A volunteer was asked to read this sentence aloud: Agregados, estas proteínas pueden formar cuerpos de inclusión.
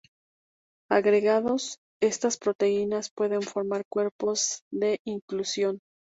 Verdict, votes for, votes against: accepted, 4, 0